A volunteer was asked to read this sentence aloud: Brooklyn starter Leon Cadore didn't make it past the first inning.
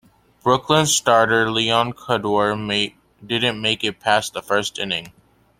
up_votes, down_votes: 0, 2